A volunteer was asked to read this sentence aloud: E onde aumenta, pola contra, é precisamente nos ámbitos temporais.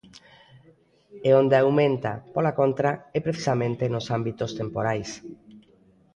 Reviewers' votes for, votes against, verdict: 2, 0, accepted